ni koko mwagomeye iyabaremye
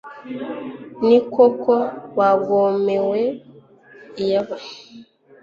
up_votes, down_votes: 1, 2